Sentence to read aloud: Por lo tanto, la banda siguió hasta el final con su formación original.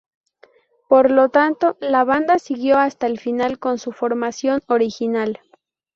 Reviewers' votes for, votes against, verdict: 4, 0, accepted